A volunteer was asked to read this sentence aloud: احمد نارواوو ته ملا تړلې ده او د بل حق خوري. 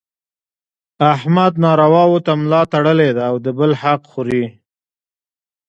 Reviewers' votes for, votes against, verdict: 2, 0, accepted